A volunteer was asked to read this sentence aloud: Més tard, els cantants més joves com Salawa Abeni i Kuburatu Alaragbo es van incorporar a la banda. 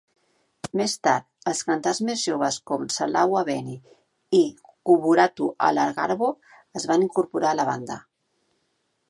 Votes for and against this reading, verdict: 8, 9, rejected